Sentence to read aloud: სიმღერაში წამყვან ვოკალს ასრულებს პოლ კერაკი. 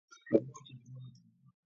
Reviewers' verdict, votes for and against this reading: rejected, 0, 2